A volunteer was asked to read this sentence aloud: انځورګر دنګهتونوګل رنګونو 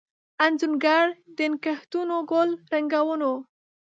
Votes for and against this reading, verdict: 1, 2, rejected